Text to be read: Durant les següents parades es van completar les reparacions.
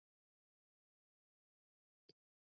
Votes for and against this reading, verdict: 0, 3, rejected